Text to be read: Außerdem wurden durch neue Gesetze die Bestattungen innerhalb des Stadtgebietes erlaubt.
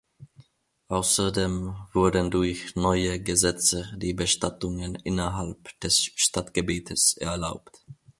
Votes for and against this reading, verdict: 2, 0, accepted